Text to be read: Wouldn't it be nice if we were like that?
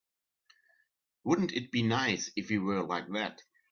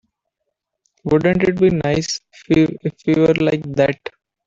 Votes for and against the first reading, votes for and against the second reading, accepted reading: 3, 0, 0, 3, first